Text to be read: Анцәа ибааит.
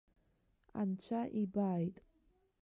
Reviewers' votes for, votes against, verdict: 2, 0, accepted